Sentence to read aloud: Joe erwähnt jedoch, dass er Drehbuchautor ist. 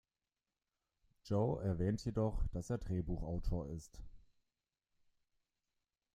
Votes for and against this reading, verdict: 2, 0, accepted